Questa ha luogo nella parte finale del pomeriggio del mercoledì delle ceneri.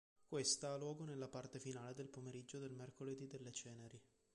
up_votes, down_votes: 2, 0